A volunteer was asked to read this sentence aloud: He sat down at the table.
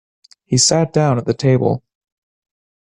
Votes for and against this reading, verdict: 2, 0, accepted